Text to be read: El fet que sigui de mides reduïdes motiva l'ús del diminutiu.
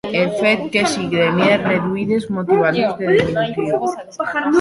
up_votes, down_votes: 1, 2